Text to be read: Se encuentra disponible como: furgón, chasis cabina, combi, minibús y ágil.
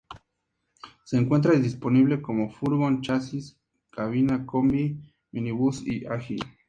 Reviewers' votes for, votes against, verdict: 2, 0, accepted